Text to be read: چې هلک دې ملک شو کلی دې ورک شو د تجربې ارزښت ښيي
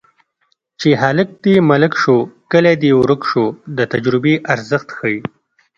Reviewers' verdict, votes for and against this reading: accepted, 2, 0